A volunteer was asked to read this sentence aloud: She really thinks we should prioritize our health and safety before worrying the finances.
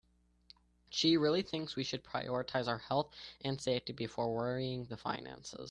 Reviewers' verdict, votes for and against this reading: accepted, 2, 0